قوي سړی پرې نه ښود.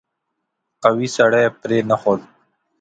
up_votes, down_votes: 2, 0